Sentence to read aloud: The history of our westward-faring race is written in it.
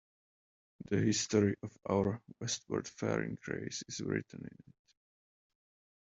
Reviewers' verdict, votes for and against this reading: rejected, 1, 2